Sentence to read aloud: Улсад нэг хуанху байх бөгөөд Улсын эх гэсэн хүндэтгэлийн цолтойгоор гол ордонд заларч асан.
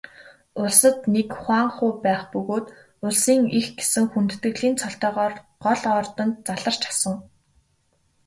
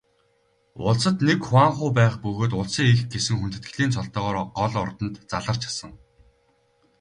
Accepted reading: first